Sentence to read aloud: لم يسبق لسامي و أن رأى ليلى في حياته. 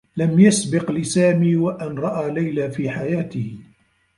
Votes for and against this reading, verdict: 1, 2, rejected